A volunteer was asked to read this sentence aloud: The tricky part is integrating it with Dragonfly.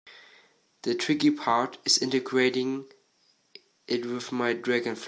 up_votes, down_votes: 2, 1